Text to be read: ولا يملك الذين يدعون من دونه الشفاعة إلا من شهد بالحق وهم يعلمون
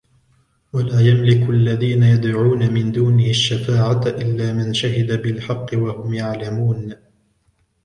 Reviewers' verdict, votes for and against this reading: rejected, 1, 2